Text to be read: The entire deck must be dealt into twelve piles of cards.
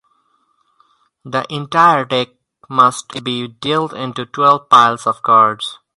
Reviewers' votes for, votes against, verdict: 4, 0, accepted